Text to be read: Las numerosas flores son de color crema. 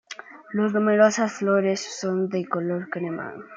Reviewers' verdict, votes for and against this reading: accepted, 2, 1